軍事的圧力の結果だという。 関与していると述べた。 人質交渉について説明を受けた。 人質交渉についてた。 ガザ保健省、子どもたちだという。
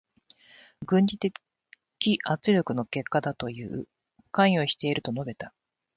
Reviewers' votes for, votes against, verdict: 2, 4, rejected